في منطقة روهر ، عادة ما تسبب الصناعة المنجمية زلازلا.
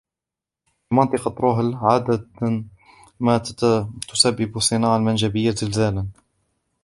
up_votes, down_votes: 0, 2